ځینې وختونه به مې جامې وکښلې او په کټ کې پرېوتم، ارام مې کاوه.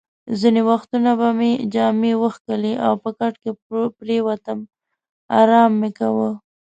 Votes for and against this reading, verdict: 2, 0, accepted